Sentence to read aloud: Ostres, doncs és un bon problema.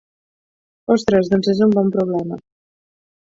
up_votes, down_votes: 8, 0